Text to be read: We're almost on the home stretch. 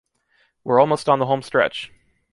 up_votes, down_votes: 2, 0